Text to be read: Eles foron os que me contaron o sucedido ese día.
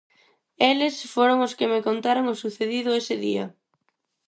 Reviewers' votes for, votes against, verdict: 4, 0, accepted